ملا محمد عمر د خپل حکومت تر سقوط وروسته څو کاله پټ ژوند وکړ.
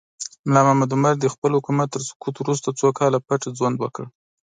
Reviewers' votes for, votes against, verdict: 1, 2, rejected